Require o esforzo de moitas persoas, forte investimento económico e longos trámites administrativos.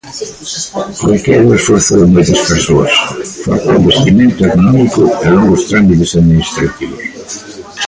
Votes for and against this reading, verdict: 0, 2, rejected